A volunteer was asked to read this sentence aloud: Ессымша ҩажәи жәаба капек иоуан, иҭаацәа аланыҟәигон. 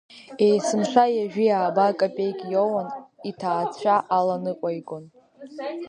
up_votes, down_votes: 0, 2